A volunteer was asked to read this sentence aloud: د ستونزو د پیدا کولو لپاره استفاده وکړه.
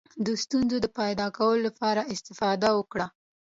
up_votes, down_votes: 2, 0